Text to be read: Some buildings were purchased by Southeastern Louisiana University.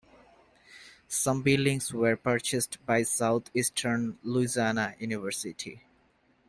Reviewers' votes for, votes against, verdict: 1, 2, rejected